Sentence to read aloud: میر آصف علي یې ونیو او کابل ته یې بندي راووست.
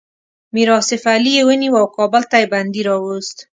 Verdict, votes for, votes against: accepted, 2, 0